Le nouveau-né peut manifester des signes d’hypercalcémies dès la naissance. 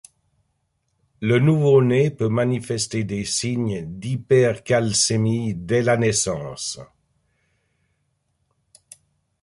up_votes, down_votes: 2, 0